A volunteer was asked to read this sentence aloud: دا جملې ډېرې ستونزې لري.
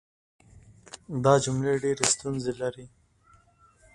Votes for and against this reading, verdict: 2, 1, accepted